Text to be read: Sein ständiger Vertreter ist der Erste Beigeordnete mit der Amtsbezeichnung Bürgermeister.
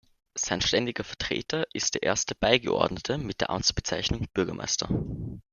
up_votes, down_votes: 2, 0